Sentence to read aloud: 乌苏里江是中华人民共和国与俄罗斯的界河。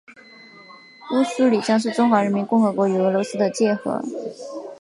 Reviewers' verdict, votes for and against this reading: accepted, 2, 0